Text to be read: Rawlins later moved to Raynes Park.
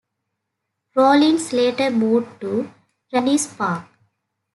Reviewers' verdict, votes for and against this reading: rejected, 0, 2